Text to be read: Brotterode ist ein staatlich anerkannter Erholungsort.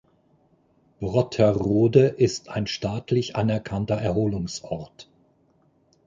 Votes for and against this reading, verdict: 4, 0, accepted